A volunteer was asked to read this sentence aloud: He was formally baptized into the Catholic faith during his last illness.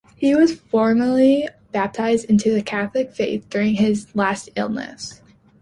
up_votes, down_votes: 2, 0